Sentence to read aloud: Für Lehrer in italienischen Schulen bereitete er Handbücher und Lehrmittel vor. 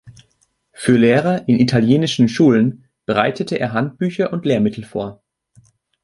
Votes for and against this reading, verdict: 3, 1, accepted